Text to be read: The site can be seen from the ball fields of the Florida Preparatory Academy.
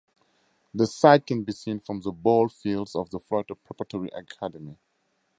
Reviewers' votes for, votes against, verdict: 2, 2, rejected